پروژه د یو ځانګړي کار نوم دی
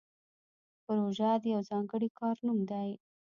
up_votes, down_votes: 1, 2